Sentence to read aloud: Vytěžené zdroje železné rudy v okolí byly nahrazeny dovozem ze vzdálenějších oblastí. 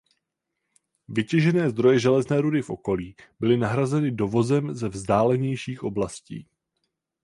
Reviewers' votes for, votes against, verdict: 4, 0, accepted